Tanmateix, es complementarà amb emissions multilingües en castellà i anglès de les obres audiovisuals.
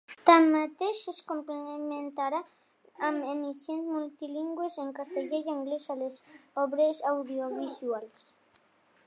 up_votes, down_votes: 0, 2